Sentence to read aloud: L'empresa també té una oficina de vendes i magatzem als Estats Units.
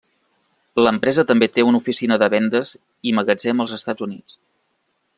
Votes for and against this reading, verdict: 3, 0, accepted